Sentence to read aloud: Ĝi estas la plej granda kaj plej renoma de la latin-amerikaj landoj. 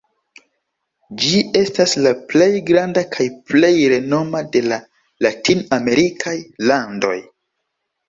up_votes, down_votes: 2, 0